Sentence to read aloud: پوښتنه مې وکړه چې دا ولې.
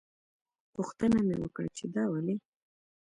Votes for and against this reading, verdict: 2, 0, accepted